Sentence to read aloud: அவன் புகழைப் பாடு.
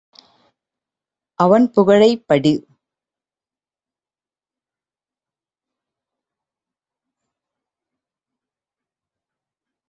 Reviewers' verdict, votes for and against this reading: rejected, 0, 2